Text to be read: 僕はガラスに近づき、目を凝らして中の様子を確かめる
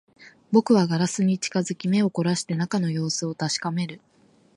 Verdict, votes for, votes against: rejected, 0, 2